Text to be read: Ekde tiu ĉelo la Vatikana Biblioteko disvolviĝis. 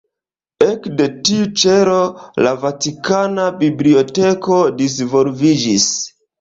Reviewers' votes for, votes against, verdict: 1, 3, rejected